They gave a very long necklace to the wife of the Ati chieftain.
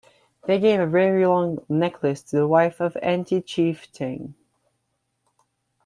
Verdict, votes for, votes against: rejected, 0, 2